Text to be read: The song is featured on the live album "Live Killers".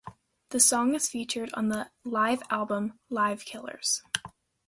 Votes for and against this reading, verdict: 2, 0, accepted